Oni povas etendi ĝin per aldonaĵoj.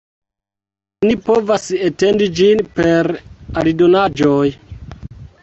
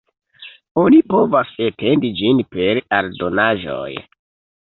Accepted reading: second